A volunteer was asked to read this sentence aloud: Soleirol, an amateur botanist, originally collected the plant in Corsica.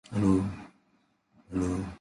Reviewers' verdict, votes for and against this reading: rejected, 0, 2